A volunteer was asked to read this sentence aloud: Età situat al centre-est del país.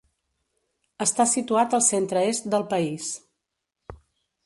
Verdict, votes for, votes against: rejected, 1, 2